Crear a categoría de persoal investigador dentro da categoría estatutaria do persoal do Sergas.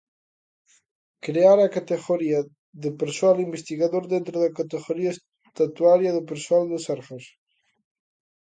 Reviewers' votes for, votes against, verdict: 0, 2, rejected